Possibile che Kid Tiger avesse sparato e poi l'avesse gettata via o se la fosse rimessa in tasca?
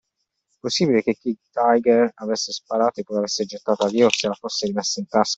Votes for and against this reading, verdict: 2, 0, accepted